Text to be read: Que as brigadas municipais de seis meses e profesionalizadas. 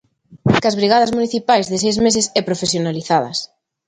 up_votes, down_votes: 2, 0